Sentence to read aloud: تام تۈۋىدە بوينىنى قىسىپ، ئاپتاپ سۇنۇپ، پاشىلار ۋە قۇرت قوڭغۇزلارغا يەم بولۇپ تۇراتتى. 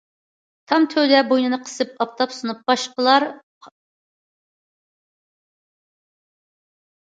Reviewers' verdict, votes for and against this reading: rejected, 0, 2